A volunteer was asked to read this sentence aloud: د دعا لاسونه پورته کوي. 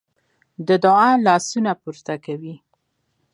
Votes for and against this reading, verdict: 3, 1, accepted